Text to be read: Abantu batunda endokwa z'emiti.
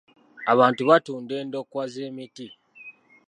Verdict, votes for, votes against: accepted, 2, 0